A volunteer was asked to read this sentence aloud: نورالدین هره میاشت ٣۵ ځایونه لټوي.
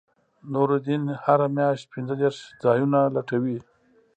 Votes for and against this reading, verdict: 0, 2, rejected